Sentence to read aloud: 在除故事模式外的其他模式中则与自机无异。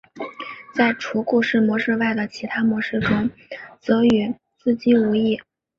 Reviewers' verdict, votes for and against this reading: accepted, 2, 0